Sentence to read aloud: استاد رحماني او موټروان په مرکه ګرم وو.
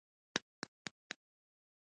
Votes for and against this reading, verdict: 1, 2, rejected